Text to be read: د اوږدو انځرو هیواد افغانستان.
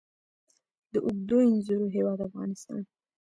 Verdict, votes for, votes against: accepted, 2, 1